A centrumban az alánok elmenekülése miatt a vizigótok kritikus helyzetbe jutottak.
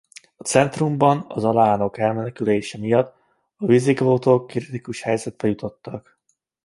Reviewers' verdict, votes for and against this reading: accepted, 2, 0